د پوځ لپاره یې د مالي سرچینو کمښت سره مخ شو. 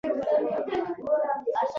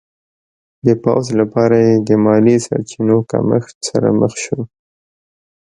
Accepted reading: second